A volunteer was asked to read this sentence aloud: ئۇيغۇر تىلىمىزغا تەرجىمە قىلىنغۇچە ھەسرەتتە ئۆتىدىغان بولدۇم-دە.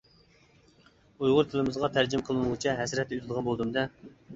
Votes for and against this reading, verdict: 3, 0, accepted